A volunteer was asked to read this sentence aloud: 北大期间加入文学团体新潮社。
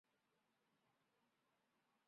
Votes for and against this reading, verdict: 0, 2, rejected